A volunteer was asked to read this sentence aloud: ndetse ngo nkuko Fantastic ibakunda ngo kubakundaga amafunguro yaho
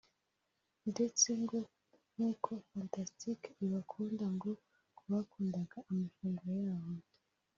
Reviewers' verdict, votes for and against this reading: accepted, 2, 0